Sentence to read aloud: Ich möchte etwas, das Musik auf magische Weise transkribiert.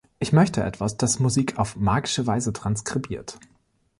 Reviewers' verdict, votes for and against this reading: accepted, 3, 0